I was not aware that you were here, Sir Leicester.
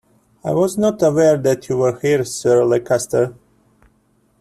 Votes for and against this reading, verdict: 0, 2, rejected